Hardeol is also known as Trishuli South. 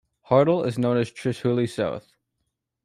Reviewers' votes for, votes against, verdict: 1, 2, rejected